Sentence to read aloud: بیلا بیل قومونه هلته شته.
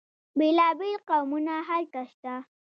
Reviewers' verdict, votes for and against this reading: accepted, 2, 0